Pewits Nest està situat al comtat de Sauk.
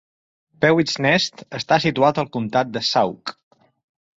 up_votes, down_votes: 2, 0